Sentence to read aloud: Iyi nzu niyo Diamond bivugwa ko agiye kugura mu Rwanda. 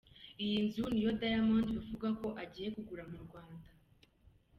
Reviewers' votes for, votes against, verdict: 2, 0, accepted